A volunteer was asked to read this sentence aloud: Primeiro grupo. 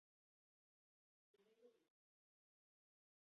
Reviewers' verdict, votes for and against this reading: rejected, 0, 10